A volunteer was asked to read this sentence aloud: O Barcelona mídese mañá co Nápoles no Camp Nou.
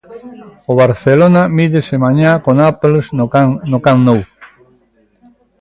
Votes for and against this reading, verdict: 0, 2, rejected